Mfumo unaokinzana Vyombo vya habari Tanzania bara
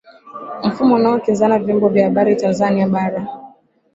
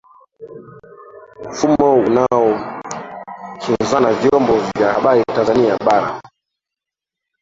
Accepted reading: first